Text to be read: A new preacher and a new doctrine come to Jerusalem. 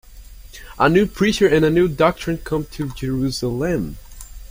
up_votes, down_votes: 2, 0